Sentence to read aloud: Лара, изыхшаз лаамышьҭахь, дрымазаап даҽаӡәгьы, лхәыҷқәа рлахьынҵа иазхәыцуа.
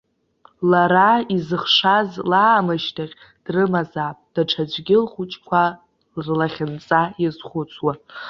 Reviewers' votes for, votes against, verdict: 0, 2, rejected